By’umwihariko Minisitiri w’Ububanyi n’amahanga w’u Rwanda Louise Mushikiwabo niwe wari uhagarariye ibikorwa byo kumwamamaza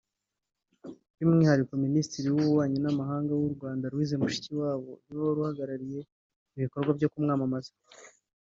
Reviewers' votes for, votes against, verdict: 3, 0, accepted